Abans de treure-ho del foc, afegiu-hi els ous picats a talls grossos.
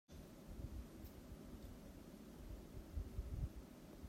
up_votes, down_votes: 0, 2